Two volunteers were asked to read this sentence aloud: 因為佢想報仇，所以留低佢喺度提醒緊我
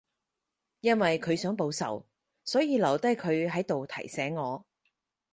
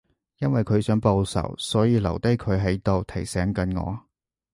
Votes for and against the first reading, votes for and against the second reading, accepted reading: 0, 4, 2, 0, second